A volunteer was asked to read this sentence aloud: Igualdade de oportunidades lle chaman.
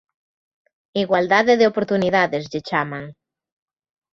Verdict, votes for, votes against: accepted, 3, 0